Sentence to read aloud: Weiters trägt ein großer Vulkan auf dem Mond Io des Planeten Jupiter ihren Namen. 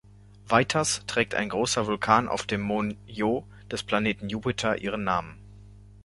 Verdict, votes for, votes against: rejected, 0, 2